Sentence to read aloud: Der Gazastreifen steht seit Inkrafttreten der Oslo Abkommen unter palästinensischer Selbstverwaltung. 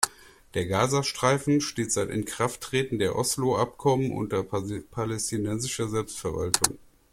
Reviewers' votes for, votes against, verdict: 1, 2, rejected